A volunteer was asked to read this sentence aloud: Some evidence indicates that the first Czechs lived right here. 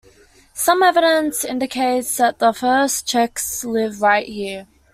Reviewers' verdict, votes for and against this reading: accepted, 2, 0